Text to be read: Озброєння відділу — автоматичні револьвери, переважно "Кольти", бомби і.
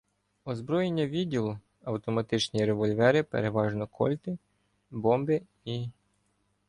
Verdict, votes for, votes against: accepted, 2, 0